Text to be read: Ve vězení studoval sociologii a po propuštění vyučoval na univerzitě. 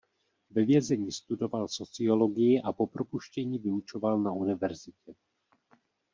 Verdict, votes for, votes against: accepted, 2, 0